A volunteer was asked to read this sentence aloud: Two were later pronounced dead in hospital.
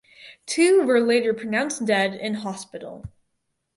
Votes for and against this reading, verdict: 2, 2, rejected